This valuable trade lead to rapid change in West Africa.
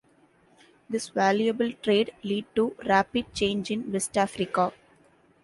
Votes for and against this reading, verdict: 2, 0, accepted